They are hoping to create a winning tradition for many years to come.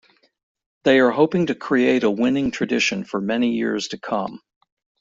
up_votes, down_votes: 2, 1